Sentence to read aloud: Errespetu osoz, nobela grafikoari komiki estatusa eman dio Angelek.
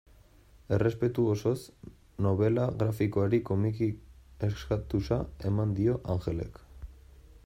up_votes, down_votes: 1, 2